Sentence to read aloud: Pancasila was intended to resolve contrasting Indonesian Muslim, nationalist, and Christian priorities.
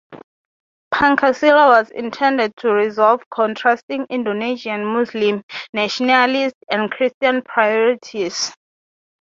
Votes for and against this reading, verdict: 3, 0, accepted